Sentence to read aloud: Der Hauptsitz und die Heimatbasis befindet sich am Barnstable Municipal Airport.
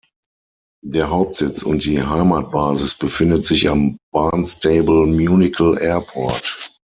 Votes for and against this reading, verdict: 0, 6, rejected